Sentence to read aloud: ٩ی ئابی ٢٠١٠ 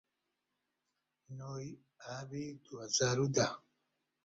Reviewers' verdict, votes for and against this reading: rejected, 0, 2